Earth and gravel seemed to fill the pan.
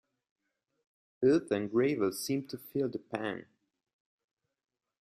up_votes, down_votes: 1, 2